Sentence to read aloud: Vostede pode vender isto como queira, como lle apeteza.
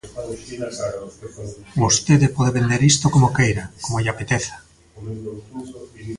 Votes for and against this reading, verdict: 1, 2, rejected